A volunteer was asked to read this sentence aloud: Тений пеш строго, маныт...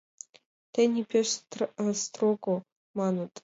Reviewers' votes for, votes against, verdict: 1, 3, rejected